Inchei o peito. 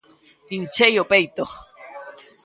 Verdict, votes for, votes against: accepted, 2, 0